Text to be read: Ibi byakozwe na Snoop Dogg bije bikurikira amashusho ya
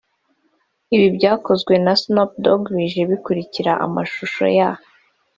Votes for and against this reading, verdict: 2, 0, accepted